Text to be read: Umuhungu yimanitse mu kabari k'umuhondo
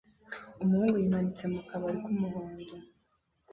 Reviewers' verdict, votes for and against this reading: rejected, 1, 2